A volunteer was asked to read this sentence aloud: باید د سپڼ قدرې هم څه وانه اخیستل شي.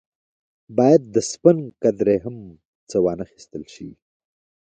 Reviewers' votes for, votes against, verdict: 1, 2, rejected